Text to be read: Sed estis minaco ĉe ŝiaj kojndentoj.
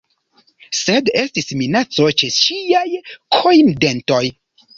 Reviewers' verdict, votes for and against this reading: accepted, 2, 0